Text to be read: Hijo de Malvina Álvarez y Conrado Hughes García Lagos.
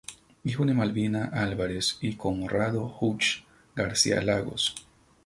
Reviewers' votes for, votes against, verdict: 4, 0, accepted